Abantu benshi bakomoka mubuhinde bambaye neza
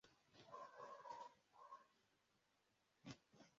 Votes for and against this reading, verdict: 0, 2, rejected